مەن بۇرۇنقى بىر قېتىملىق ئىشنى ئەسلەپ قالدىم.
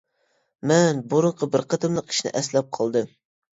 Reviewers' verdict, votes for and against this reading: accepted, 2, 0